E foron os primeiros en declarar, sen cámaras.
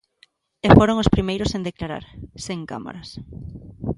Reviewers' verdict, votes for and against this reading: accepted, 2, 0